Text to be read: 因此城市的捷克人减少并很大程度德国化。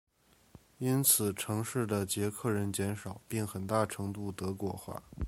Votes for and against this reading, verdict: 2, 1, accepted